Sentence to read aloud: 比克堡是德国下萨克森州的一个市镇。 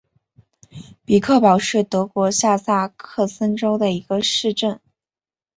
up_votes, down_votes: 2, 0